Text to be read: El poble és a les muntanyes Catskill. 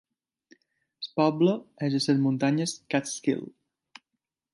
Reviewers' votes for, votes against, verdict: 2, 1, accepted